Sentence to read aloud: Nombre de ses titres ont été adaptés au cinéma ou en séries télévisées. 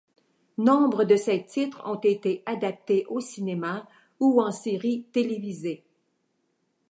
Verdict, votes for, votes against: accepted, 2, 0